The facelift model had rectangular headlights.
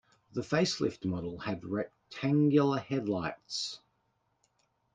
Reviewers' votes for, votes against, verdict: 2, 0, accepted